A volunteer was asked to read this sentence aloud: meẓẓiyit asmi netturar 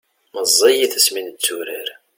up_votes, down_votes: 2, 0